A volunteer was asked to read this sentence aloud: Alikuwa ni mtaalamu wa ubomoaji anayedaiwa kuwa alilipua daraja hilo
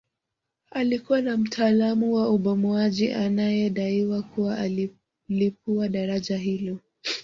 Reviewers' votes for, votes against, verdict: 1, 2, rejected